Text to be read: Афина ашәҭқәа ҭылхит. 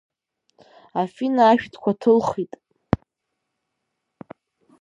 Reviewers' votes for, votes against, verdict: 1, 2, rejected